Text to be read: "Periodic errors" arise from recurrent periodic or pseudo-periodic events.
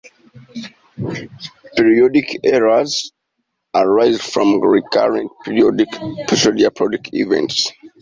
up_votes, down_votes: 2, 1